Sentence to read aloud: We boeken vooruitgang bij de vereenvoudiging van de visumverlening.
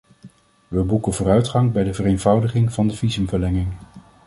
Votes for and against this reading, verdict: 0, 2, rejected